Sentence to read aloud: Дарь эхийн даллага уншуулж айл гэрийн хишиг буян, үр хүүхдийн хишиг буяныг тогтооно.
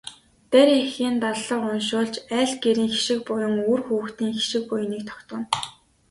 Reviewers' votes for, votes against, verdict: 3, 0, accepted